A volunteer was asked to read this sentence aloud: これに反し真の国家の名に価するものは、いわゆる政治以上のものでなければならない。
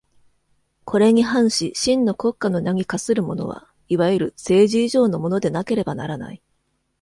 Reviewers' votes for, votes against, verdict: 1, 2, rejected